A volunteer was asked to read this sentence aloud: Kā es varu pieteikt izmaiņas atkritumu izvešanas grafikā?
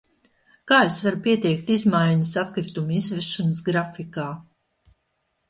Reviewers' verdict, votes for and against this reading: rejected, 1, 2